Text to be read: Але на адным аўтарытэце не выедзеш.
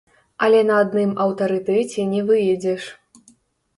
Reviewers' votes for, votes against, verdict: 0, 3, rejected